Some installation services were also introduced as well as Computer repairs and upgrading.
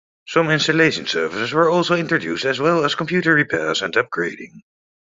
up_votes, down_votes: 2, 0